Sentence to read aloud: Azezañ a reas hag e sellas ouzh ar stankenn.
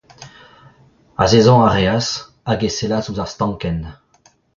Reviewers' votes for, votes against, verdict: 2, 0, accepted